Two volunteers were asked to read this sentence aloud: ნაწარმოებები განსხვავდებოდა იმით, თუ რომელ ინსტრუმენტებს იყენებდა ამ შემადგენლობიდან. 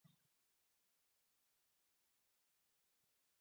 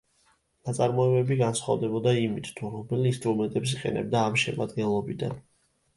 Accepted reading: second